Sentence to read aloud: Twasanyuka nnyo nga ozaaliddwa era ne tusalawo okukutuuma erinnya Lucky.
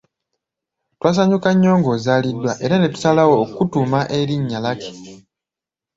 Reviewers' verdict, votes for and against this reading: accepted, 2, 0